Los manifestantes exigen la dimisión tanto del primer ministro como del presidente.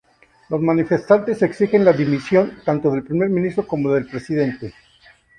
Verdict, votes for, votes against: accepted, 2, 0